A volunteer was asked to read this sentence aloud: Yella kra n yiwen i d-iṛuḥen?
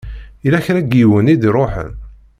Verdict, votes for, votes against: accepted, 2, 0